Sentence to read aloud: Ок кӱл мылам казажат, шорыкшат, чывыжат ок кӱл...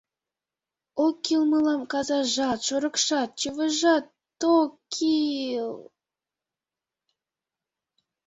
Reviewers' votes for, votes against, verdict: 1, 2, rejected